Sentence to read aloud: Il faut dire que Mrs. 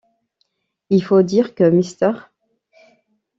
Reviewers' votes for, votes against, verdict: 0, 2, rejected